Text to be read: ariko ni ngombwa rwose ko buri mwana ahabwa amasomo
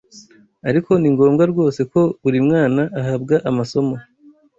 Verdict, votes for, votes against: accepted, 2, 0